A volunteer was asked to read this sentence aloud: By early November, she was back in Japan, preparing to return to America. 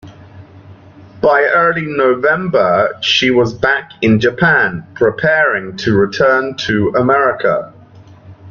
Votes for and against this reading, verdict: 2, 0, accepted